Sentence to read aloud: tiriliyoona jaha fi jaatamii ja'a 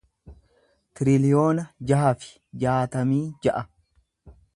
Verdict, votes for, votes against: accepted, 2, 0